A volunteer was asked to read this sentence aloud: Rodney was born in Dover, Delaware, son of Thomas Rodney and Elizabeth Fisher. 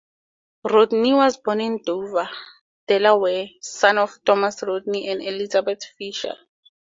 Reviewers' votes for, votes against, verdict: 4, 0, accepted